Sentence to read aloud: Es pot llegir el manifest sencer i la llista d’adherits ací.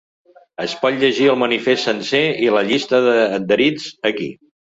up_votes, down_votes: 1, 2